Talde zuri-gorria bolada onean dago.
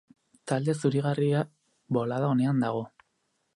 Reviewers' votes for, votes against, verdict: 2, 4, rejected